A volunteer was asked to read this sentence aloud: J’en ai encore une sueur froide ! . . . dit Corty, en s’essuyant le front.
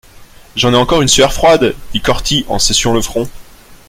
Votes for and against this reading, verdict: 2, 0, accepted